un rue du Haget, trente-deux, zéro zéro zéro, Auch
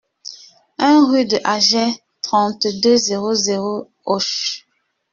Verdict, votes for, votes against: rejected, 0, 2